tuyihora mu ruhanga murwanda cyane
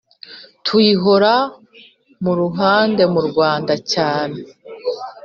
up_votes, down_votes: 0, 2